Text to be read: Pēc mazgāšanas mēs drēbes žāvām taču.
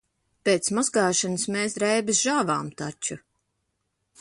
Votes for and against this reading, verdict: 2, 0, accepted